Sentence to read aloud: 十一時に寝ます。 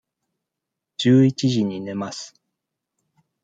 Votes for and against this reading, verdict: 2, 0, accepted